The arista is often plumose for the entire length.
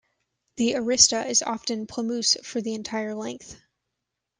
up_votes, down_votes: 2, 1